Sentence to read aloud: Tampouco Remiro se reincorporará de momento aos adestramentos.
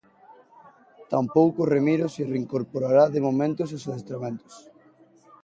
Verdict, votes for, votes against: rejected, 0, 2